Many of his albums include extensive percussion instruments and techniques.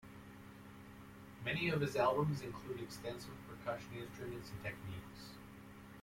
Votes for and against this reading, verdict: 1, 2, rejected